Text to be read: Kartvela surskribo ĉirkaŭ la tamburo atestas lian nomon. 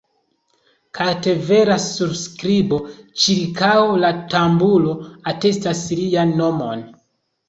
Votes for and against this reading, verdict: 1, 2, rejected